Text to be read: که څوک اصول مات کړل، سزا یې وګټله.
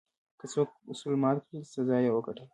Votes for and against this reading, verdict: 2, 0, accepted